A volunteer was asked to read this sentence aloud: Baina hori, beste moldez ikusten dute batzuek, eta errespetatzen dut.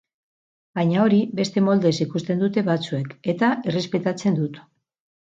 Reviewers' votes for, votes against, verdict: 4, 0, accepted